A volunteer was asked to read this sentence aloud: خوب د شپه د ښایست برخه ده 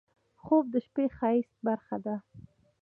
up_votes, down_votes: 2, 0